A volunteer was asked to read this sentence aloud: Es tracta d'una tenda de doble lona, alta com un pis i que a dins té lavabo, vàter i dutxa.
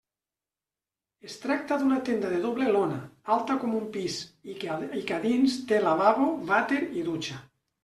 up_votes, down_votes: 1, 2